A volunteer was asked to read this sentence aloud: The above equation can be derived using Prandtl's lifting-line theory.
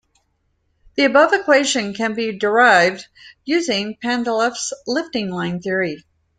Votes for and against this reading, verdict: 1, 2, rejected